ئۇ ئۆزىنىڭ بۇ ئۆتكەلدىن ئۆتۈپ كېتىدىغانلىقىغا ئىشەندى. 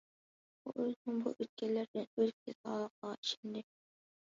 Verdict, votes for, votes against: rejected, 0, 2